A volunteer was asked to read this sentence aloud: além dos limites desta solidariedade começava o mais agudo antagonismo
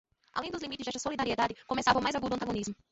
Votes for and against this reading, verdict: 1, 2, rejected